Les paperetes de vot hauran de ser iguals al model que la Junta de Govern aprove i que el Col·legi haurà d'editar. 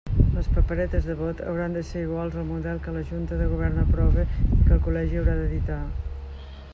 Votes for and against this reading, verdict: 2, 0, accepted